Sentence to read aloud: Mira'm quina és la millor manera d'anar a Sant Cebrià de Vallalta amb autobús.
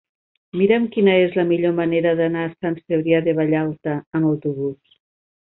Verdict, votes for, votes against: accepted, 5, 0